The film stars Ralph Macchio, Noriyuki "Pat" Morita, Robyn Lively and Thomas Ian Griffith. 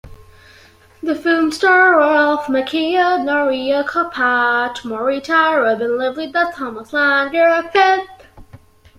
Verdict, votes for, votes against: rejected, 0, 2